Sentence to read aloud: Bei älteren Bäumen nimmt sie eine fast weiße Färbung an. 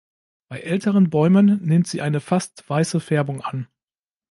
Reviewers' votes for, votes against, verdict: 2, 0, accepted